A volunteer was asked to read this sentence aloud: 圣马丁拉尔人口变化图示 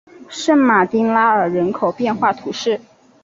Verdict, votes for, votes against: accepted, 2, 0